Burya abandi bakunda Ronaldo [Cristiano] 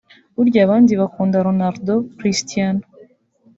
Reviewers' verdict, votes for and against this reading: accepted, 2, 0